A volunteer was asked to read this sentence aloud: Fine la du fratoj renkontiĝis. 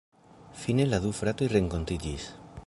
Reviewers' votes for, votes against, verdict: 0, 2, rejected